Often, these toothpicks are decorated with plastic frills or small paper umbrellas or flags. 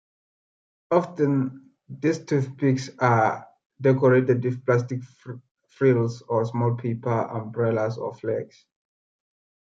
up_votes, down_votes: 2, 1